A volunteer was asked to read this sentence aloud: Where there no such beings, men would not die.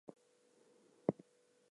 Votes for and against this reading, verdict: 2, 0, accepted